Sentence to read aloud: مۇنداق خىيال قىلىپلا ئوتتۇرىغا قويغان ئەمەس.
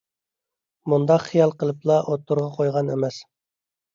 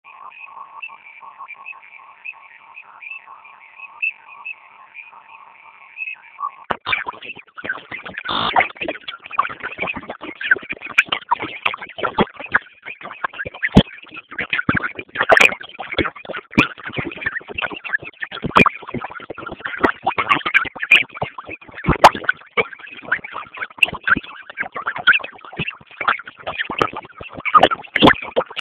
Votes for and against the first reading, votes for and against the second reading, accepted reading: 3, 0, 0, 2, first